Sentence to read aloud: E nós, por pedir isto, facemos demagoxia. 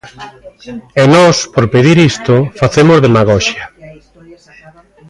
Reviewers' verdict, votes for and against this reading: rejected, 1, 2